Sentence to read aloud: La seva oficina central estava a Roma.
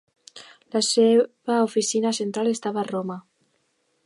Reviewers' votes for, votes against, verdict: 2, 0, accepted